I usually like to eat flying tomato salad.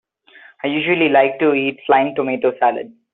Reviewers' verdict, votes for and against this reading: accepted, 2, 1